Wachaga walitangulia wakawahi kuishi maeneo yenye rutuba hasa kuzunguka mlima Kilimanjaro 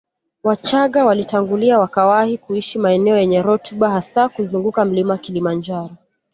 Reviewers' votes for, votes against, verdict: 2, 0, accepted